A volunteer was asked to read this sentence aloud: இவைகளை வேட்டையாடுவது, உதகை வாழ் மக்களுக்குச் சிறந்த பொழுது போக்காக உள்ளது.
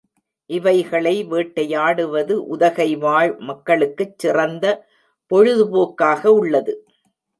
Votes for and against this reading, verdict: 1, 2, rejected